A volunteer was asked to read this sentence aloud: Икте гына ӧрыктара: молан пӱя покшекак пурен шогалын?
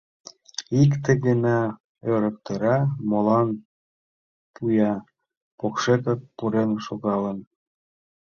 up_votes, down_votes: 0, 2